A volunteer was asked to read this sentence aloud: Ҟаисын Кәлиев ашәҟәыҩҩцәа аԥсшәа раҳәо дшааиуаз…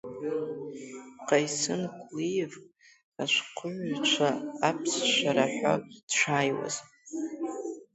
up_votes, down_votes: 2, 0